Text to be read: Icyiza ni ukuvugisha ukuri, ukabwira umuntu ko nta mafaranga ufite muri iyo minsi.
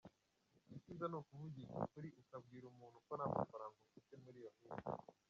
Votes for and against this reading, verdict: 1, 2, rejected